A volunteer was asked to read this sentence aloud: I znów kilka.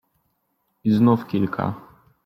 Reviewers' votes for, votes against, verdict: 2, 0, accepted